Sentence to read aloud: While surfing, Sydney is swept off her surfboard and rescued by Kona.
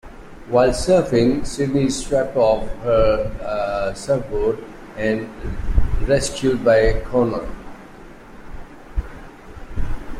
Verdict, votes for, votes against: rejected, 1, 2